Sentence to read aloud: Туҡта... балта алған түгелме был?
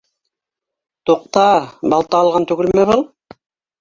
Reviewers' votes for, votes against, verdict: 1, 2, rejected